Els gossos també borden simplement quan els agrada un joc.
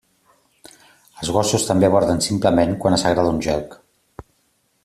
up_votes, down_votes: 2, 0